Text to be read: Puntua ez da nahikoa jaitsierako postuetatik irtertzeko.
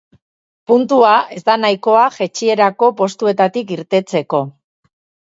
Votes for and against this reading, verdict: 2, 4, rejected